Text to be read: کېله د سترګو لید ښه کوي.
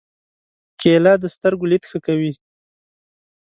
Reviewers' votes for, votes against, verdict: 2, 0, accepted